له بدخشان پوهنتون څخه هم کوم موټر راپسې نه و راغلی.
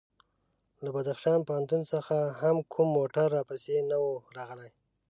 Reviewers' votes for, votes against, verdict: 2, 0, accepted